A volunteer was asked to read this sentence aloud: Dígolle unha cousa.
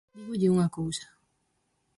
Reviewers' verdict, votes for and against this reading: rejected, 0, 4